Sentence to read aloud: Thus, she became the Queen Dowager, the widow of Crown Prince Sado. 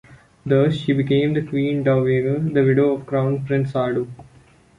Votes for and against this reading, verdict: 2, 0, accepted